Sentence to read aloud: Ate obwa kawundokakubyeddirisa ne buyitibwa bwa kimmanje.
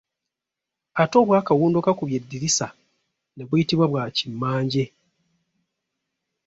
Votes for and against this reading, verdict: 3, 1, accepted